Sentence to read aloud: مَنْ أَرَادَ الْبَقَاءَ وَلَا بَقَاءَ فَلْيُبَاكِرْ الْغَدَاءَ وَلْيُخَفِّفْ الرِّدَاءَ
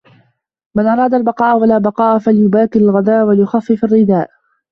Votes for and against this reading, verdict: 2, 1, accepted